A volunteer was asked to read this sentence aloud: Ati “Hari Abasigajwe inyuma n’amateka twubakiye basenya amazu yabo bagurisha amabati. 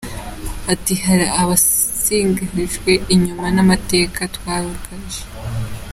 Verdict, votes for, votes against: rejected, 0, 2